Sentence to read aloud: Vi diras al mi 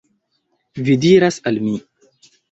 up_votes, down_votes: 2, 0